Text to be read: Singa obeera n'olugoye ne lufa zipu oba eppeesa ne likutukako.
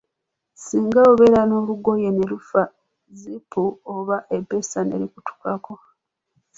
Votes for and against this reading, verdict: 2, 0, accepted